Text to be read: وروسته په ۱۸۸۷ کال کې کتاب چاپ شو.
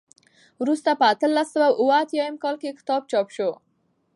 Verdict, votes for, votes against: rejected, 0, 2